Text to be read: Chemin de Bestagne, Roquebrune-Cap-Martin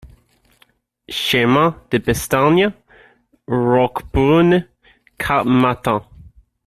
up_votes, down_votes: 1, 2